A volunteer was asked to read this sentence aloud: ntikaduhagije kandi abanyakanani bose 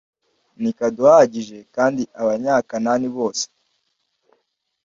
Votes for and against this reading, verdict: 2, 0, accepted